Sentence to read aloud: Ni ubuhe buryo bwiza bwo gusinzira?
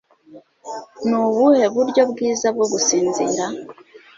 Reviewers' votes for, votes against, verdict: 2, 0, accepted